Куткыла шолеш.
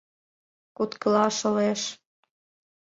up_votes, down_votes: 2, 0